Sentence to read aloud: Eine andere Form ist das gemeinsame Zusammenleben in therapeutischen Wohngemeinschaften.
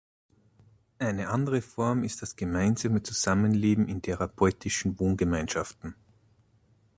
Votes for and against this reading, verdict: 2, 0, accepted